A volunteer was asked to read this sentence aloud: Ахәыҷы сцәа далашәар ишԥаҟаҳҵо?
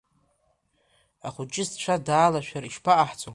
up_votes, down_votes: 0, 2